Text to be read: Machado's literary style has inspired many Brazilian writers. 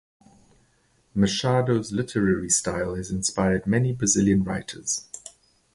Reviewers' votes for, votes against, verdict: 4, 0, accepted